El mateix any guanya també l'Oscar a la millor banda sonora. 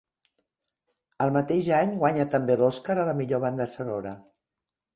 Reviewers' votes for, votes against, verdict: 2, 0, accepted